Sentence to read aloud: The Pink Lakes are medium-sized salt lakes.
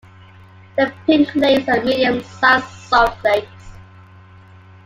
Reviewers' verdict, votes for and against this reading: accepted, 2, 0